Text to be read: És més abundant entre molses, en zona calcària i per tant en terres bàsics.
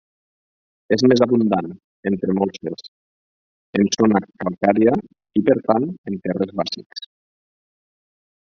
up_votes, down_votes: 2, 4